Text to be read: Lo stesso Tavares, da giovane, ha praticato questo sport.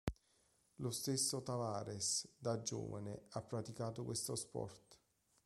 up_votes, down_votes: 2, 1